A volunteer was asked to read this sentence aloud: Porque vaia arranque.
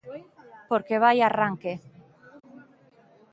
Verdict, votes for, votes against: accepted, 2, 1